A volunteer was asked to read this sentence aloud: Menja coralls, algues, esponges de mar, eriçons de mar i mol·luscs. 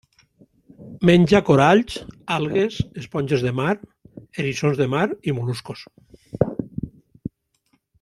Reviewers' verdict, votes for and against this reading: rejected, 1, 2